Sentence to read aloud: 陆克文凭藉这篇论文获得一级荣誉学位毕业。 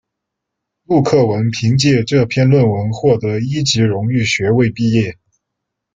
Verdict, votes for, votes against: rejected, 1, 2